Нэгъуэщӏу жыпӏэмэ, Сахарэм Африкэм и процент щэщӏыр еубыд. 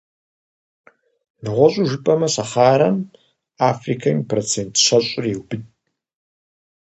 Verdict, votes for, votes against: accepted, 4, 0